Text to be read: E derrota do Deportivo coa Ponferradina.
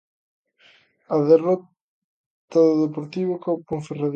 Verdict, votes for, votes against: rejected, 0, 2